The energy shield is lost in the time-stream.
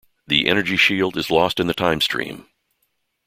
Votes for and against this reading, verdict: 2, 0, accepted